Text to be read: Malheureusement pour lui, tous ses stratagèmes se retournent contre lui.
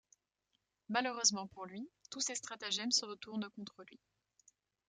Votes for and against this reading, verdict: 2, 0, accepted